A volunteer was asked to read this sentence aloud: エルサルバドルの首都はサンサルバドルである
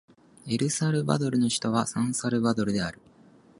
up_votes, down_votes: 2, 1